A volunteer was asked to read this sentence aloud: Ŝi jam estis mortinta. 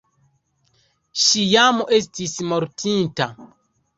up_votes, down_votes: 2, 0